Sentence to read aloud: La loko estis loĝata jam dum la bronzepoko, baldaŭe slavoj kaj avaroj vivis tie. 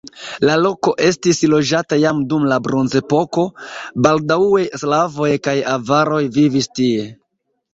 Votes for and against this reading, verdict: 1, 2, rejected